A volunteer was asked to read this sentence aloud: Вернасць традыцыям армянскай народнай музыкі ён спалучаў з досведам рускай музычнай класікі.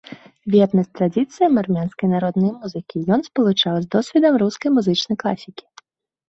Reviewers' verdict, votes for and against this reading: rejected, 1, 2